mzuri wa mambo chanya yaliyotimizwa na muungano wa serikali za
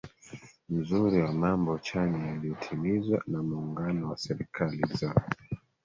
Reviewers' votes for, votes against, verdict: 2, 3, rejected